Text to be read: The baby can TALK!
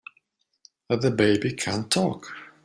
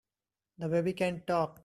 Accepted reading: first